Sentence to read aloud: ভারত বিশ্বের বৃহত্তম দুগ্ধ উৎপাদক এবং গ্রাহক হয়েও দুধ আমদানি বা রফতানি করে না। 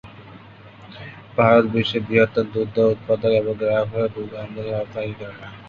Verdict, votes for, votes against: rejected, 0, 3